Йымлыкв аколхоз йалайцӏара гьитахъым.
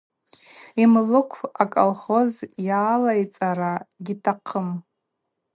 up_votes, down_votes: 2, 0